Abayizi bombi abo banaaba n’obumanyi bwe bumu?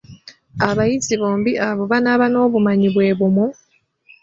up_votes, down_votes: 2, 0